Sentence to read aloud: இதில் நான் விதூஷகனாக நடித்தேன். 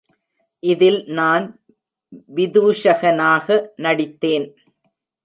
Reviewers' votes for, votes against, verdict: 2, 0, accepted